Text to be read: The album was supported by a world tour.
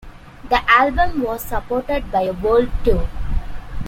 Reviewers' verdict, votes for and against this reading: accepted, 2, 0